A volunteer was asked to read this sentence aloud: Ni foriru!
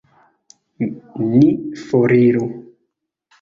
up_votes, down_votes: 2, 1